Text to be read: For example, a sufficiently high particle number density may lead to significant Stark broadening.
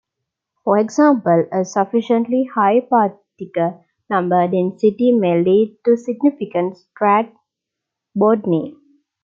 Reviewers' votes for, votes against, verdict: 1, 2, rejected